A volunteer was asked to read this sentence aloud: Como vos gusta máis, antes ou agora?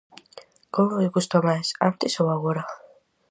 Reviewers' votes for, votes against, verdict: 4, 0, accepted